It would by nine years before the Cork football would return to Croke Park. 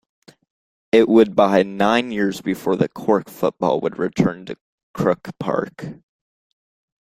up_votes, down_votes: 1, 2